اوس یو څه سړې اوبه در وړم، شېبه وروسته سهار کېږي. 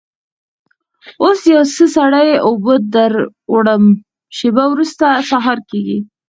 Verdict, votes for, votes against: rejected, 2, 4